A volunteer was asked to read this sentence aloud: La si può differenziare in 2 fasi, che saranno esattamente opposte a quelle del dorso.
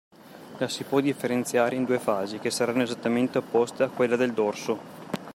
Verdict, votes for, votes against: rejected, 0, 2